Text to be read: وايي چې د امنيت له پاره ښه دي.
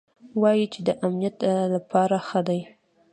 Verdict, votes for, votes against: rejected, 0, 2